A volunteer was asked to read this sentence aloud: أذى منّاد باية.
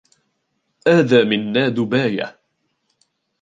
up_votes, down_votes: 2, 0